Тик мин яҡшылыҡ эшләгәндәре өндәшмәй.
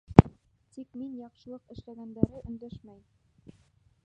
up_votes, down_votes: 1, 2